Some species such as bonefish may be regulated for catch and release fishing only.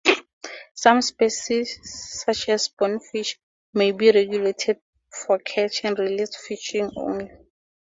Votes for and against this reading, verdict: 4, 0, accepted